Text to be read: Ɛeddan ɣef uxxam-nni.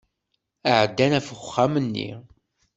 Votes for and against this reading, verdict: 2, 0, accepted